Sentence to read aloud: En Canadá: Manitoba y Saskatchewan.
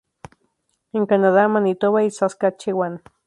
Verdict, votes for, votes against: rejected, 2, 2